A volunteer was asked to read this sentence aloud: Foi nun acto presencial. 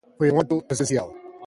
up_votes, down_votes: 0, 2